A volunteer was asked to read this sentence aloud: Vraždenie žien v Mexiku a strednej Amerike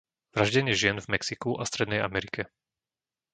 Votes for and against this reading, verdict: 2, 0, accepted